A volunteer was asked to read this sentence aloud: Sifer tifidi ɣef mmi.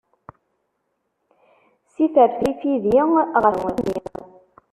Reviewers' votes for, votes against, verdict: 1, 2, rejected